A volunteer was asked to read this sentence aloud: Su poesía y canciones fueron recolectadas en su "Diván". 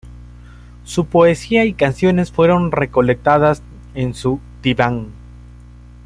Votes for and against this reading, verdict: 1, 2, rejected